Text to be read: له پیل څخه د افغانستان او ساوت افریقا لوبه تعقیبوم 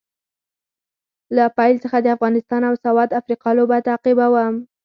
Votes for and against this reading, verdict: 6, 0, accepted